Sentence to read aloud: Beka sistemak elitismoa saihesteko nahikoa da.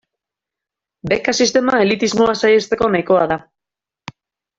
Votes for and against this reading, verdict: 0, 2, rejected